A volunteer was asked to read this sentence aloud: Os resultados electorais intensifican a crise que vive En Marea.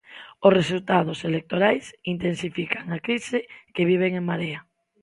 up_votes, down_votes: 0, 2